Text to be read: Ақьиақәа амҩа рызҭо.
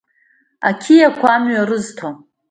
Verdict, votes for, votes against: accepted, 2, 0